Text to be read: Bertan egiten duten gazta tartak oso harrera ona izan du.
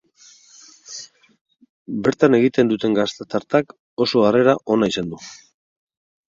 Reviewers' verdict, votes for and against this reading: accepted, 4, 0